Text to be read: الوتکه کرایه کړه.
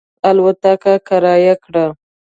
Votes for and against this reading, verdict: 2, 0, accepted